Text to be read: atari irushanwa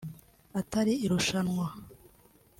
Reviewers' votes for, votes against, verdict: 2, 0, accepted